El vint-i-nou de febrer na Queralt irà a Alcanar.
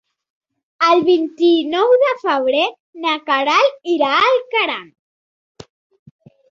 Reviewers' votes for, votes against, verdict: 2, 3, rejected